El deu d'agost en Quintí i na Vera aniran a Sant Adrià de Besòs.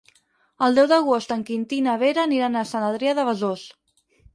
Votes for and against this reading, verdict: 4, 0, accepted